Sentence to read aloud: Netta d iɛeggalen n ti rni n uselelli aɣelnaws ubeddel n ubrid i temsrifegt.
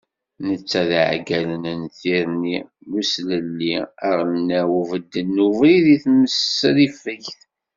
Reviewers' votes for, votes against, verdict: 2, 0, accepted